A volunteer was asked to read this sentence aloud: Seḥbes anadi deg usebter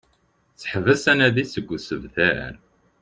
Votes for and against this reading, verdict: 0, 2, rejected